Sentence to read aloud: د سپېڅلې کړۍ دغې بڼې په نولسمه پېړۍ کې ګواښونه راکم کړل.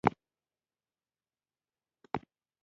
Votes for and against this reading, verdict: 0, 2, rejected